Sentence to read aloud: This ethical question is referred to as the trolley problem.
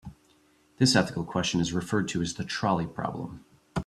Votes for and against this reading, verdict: 4, 0, accepted